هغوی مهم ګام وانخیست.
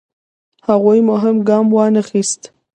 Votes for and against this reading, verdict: 1, 2, rejected